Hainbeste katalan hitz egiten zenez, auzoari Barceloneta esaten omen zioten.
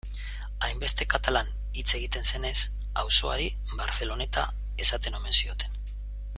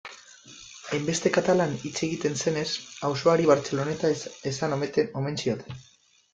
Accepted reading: first